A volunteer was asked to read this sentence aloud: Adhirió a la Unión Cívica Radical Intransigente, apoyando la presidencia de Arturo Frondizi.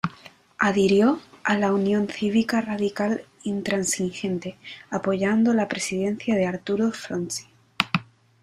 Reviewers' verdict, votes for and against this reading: rejected, 1, 2